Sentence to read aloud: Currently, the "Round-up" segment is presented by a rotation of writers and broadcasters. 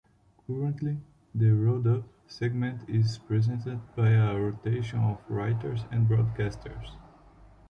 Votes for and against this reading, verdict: 2, 0, accepted